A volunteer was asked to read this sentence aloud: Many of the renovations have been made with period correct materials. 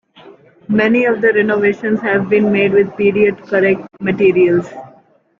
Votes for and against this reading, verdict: 2, 0, accepted